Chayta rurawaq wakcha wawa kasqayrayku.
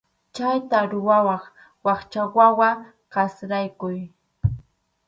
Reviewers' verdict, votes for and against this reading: rejected, 2, 2